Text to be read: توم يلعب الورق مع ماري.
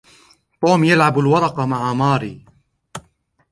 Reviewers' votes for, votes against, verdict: 2, 0, accepted